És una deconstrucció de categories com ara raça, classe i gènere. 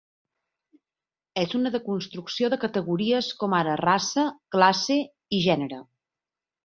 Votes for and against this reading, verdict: 2, 0, accepted